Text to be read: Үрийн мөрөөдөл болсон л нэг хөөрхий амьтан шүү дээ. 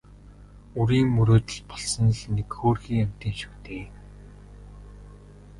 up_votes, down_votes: 1, 2